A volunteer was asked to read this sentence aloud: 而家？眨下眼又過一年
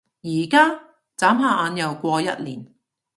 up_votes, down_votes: 2, 0